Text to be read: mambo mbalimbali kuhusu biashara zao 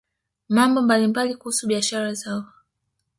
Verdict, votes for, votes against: rejected, 1, 2